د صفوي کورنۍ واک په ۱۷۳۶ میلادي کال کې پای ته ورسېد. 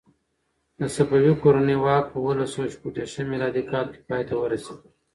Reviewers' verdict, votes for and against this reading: rejected, 0, 2